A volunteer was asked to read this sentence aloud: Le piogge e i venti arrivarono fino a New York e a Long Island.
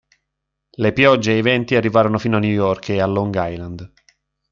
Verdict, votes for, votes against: accepted, 2, 0